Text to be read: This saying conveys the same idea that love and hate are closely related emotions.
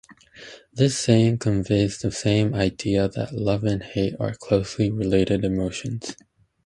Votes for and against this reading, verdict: 2, 0, accepted